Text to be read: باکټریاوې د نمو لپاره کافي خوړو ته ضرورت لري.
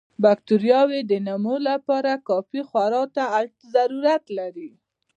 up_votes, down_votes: 2, 0